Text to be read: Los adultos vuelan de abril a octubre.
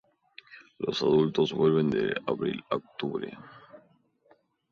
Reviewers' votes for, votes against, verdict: 0, 2, rejected